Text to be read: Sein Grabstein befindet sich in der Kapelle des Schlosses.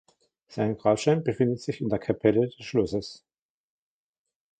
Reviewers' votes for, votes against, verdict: 1, 2, rejected